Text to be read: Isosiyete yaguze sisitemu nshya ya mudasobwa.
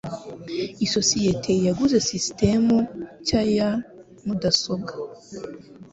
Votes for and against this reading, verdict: 2, 0, accepted